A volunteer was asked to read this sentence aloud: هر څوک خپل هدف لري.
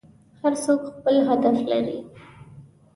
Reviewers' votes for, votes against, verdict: 2, 0, accepted